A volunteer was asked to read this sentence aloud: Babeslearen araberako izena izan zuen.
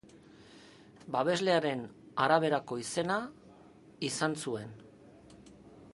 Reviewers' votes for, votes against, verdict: 2, 0, accepted